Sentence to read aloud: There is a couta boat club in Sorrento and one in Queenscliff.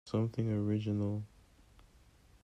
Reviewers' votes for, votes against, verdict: 0, 2, rejected